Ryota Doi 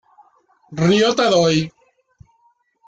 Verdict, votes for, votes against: rejected, 0, 2